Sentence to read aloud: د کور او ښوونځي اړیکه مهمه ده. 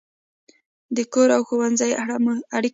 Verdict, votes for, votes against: rejected, 1, 2